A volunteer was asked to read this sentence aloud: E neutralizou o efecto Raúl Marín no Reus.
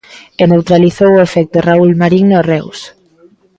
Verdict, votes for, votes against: accepted, 2, 0